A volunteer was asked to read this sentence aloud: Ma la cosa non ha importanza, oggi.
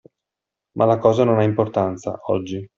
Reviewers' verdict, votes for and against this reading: accepted, 2, 0